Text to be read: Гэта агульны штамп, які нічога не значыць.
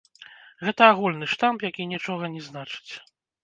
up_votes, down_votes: 2, 0